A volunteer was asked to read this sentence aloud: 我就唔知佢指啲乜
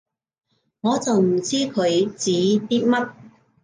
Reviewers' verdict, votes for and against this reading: accepted, 2, 0